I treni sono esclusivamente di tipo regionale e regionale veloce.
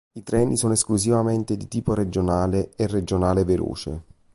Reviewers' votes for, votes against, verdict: 2, 0, accepted